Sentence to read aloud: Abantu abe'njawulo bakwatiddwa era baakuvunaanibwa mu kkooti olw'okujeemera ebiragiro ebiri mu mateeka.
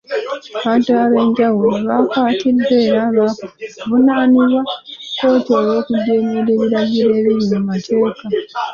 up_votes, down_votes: 3, 1